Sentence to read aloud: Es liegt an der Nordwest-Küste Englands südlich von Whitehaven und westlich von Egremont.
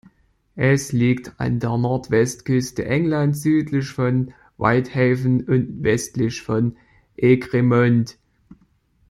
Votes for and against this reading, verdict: 1, 2, rejected